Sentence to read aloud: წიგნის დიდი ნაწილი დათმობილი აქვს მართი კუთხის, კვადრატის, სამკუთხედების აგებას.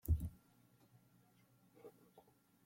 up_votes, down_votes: 0, 2